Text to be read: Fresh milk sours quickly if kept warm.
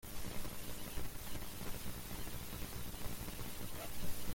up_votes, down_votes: 0, 2